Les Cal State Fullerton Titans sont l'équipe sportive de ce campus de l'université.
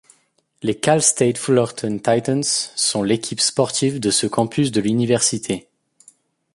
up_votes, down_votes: 2, 0